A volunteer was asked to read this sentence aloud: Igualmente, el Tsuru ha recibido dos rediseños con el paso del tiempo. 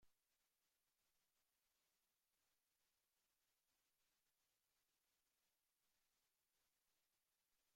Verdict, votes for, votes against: rejected, 0, 2